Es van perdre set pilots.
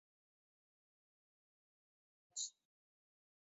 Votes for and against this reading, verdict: 0, 2, rejected